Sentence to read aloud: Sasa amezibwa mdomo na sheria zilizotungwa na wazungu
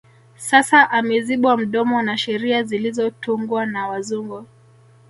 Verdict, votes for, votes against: rejected, 1, 2